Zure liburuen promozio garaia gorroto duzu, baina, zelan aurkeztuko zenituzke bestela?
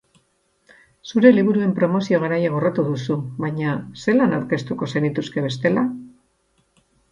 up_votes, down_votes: 4, 0